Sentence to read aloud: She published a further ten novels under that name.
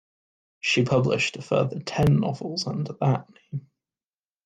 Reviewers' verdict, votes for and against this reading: rejected, 1, 2